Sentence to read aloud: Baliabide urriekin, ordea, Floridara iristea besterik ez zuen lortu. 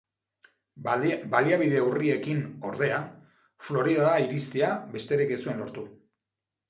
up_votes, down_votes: 0, 2